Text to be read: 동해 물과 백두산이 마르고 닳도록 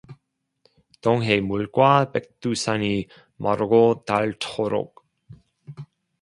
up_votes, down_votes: 2, 0